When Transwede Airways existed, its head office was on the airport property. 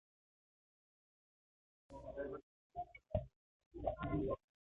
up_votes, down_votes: 0, 2